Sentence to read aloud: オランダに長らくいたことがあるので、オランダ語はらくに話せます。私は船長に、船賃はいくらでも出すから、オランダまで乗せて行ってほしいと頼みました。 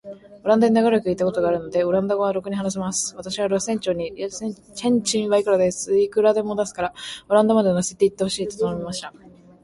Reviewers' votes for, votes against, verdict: 0, 2, rejected